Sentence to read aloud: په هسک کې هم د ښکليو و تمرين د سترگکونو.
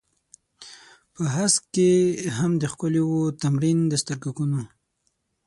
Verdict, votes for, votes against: rejected, 3, 6